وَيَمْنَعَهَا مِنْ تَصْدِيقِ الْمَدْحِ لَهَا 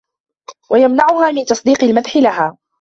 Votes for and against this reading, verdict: 2, 1, accepted